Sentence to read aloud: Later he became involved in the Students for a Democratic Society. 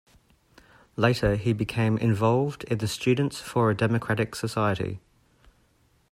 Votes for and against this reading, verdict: 2, 0, accepted